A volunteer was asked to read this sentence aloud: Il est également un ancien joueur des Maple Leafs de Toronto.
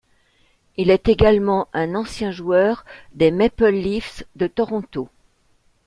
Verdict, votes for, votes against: accepted, 2, 0